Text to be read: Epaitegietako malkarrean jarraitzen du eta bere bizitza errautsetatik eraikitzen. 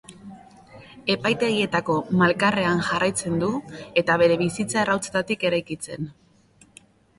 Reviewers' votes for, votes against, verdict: 0, 2, rejected